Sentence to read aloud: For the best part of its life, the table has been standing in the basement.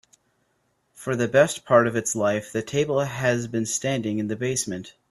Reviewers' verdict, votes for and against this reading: accepted, 3, 0